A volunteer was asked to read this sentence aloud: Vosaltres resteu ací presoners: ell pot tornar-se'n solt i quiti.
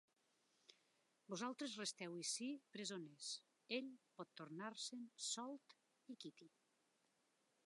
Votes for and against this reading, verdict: 0, 2, rejected